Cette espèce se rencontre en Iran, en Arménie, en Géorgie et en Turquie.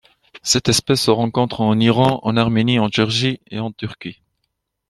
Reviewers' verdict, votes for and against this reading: accepted, 2, 0